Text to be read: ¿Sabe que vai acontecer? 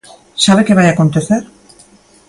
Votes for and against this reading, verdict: 2, 0, accepted